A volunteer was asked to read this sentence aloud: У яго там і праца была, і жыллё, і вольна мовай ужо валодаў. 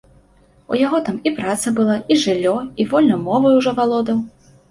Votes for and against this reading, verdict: 2, 0, accepted